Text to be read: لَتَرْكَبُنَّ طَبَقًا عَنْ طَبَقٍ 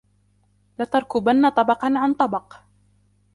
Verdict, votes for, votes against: rejected, 2, 3